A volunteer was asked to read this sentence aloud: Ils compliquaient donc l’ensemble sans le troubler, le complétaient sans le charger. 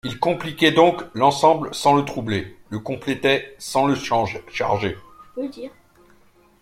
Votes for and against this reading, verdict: 0, 2, rejected